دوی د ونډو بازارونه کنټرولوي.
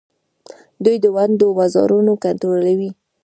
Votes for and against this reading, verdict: 1, 2, rejected